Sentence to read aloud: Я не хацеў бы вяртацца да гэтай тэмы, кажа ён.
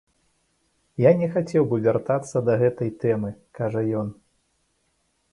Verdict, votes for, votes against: accepted, 2, 0